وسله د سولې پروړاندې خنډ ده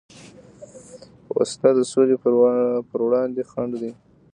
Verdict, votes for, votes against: rejected, 1, 2